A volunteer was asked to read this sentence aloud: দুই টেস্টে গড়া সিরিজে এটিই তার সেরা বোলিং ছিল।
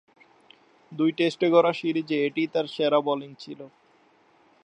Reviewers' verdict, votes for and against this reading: accepted, 2, 1